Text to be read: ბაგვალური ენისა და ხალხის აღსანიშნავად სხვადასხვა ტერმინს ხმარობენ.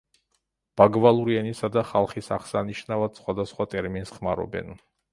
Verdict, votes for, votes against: accepted, 2, 0